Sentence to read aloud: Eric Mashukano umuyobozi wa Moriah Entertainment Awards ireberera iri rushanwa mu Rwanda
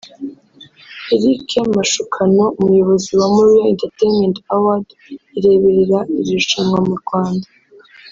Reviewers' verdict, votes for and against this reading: rejected, 0, 2